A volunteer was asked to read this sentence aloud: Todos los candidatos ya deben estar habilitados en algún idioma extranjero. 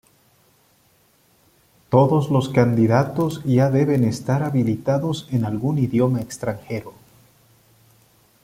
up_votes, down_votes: 2, 0